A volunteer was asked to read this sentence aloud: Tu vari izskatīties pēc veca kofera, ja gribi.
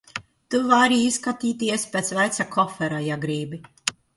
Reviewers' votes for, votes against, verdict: 1, 2, rejected